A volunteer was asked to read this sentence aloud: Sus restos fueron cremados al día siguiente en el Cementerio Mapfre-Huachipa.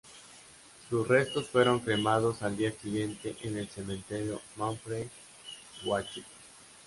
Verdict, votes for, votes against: rejected, 0, 2